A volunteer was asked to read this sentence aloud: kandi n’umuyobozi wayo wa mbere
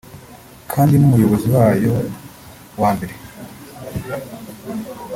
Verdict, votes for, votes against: accepted, 2, 0